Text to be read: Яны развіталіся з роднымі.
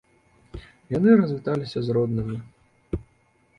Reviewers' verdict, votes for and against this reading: accepted, 2, 0